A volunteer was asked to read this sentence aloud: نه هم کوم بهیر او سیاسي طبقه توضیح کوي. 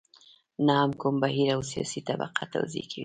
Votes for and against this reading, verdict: 2, 0, accepted